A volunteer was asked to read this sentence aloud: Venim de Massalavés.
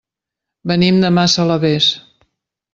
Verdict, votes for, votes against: accepted, 3, 0